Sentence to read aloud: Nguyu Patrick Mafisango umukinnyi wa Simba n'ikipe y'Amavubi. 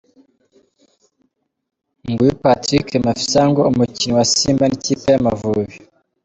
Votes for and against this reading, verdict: 2, 1, accepted